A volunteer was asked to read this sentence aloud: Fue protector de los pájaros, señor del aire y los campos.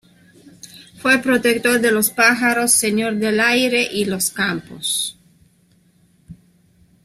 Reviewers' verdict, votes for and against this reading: accepted, 2, 0